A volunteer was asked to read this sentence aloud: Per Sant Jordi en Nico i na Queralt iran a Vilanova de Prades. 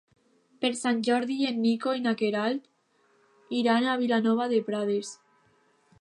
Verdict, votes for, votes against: accepted, 2, 0